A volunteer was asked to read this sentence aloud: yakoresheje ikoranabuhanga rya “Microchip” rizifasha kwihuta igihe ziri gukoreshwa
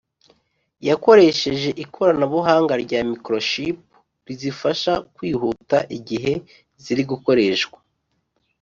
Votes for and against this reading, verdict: 2, 0, accepted